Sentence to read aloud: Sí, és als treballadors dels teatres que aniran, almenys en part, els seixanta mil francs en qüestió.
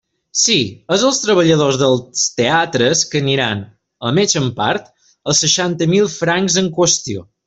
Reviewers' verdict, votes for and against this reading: rejected, 0, 2